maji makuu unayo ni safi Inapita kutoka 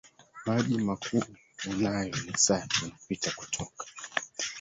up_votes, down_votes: 0, 2